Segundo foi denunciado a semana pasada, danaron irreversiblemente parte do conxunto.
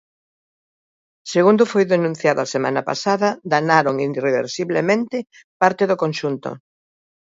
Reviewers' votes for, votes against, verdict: 1, 2, rejected